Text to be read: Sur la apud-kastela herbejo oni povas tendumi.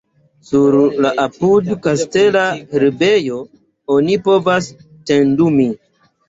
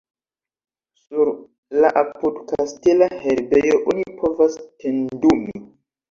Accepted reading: first